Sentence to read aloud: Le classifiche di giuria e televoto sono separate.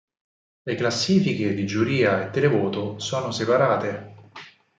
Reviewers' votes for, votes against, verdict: 4, 0, accepted